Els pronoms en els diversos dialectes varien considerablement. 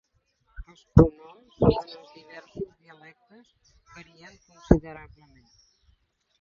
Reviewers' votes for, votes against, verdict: 0, 2, rejected